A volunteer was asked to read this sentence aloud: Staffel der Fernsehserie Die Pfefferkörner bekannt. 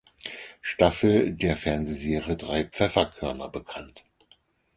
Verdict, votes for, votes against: rejected, 2, 4